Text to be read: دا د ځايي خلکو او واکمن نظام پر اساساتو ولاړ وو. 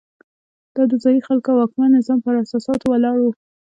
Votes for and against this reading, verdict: 3, 0, accepted